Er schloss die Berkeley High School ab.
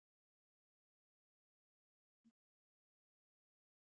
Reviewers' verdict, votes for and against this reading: rejected, 0, 2